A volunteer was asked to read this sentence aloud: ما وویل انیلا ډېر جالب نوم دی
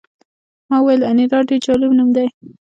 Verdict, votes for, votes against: accepted, 2, 1